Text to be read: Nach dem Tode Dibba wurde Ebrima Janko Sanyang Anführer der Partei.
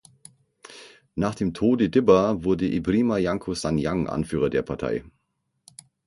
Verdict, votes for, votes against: accepted, 6, 0